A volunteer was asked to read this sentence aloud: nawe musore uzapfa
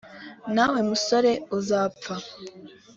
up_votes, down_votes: 2, 0